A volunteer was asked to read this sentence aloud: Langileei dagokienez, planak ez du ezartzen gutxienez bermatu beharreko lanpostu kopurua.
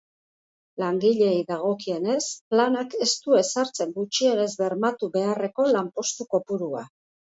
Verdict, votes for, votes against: accepted, 2, 0